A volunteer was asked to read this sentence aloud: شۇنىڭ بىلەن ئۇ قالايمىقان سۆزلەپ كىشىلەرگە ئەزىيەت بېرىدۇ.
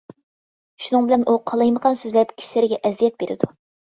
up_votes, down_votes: 5, 0